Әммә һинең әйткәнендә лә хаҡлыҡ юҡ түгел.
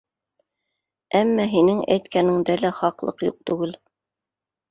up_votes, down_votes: 2, 0